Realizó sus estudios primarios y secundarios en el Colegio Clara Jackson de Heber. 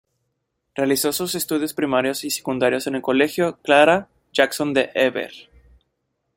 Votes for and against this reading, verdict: 2, 0, accepted